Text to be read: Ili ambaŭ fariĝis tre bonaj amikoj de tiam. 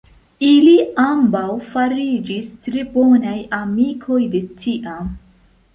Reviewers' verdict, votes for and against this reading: accepted, 2, 0